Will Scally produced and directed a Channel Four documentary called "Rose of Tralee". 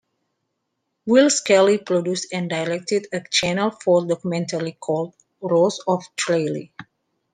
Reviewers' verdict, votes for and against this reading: accepted, 2, 0